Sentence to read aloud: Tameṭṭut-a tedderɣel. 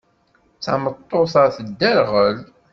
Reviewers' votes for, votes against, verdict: 2, 0, accepted